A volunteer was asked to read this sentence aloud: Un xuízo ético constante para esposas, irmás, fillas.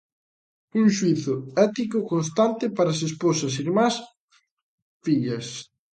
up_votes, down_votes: 0, 2